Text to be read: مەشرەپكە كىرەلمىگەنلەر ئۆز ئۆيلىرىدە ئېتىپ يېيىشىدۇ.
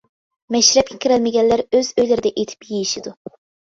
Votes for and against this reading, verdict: 2, 0, accepted